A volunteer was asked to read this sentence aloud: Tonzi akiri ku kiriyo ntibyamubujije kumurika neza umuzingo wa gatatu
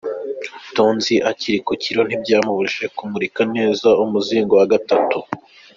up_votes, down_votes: 1, 2